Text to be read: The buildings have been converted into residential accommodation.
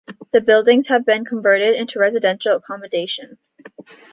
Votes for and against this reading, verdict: 2, 0, accepted